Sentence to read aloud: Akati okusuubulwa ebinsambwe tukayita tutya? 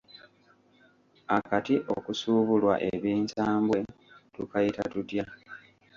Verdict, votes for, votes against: rejected, 1, 2